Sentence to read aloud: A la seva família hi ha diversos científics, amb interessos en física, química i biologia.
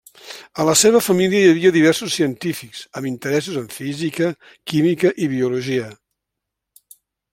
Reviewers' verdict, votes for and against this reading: rejected, 0, 2